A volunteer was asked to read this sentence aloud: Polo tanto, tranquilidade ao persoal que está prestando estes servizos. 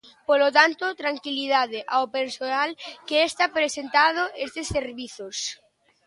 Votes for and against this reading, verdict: 0, 2, rejected